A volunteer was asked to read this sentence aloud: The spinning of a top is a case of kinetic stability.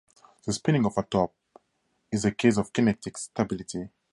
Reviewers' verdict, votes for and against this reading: accepted, 2, 0